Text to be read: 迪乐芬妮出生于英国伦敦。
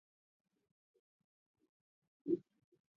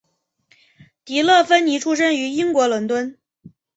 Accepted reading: second